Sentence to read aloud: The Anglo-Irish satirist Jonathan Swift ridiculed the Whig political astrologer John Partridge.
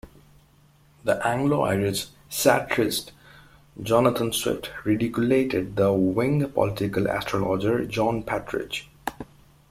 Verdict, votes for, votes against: rejected, 0, 2